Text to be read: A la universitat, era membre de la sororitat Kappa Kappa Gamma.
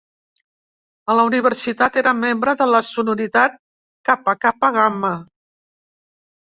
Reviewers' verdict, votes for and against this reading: rejected, 1, 2